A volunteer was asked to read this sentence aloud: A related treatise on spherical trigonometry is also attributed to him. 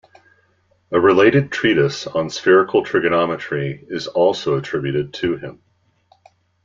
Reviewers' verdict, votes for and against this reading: accepted, 2, 0